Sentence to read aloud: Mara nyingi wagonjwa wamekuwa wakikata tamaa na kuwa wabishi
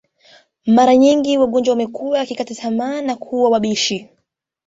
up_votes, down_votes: 2, 0